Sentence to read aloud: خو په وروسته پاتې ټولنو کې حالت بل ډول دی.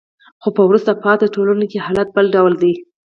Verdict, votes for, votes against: accepted, 4, 0